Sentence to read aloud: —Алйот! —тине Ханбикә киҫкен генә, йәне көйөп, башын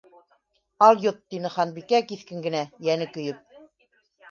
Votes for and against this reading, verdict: 1, 3, rejected